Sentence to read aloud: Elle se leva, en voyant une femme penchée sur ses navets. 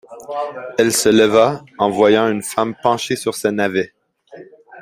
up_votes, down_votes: 0, 2